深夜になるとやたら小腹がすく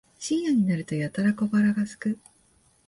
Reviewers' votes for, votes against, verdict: 2, 0, accepted